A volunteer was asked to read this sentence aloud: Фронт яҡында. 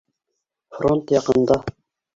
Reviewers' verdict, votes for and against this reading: accepted, 2, 1